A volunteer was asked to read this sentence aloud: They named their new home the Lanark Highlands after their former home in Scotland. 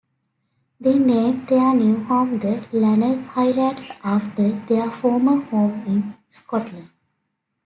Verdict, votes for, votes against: rejected, 1, 2